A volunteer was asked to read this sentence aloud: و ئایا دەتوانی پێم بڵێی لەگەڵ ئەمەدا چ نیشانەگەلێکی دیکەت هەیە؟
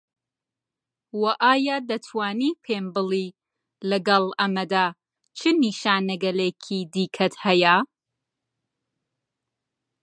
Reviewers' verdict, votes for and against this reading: rejected, 1, 2